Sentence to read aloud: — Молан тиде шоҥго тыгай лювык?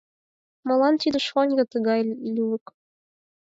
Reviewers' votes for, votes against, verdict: 0, 4, rejected